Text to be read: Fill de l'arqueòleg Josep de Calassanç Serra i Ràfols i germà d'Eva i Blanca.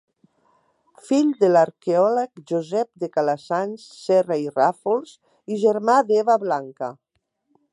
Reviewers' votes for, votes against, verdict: 0, 2, rejected